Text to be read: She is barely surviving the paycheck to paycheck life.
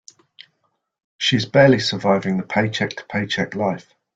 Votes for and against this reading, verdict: 2, 1, accepted